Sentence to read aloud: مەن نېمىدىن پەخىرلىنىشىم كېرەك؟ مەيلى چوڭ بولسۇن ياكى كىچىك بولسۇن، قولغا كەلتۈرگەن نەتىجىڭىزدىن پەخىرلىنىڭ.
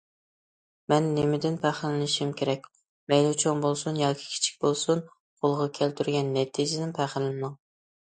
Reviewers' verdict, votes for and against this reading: rejected, 0, 2